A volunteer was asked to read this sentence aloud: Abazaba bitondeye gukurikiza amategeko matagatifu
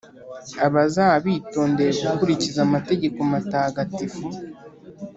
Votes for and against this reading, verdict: 2, 0, accepted